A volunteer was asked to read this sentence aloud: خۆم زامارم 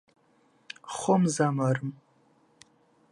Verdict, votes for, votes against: rejected, 1, 2